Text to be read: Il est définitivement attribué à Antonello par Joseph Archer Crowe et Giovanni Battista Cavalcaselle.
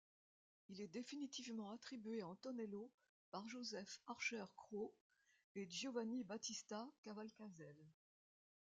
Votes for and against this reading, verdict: 2, 0, accepted